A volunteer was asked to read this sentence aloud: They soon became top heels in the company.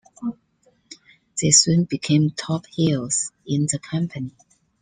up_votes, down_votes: 2, 0